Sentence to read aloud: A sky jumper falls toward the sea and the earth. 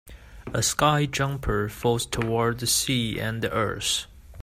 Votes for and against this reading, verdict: 3, 0, accepted